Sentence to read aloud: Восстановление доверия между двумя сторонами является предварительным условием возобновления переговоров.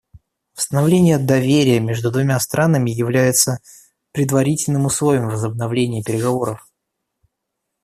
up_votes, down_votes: 0, 2